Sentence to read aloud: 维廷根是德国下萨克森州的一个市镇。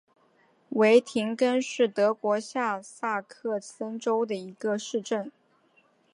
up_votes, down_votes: 2, 0